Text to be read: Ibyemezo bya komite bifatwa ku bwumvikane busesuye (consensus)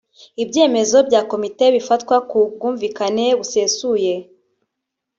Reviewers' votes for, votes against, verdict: 0, 2, rejected